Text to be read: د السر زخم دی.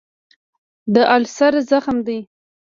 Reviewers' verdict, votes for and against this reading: rejected, 1, 2